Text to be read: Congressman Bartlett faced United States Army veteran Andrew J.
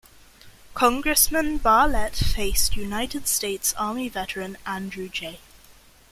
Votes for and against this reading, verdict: 1, 2, rejected